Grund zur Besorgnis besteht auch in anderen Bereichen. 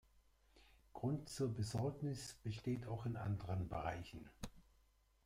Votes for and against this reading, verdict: 0, 2, rejected